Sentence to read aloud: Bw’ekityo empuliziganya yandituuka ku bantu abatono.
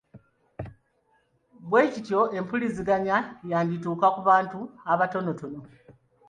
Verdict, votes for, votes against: accepted, 2, 0